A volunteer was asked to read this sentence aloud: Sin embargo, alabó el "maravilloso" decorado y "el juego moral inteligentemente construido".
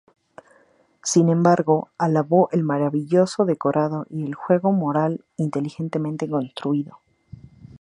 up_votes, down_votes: 2, 2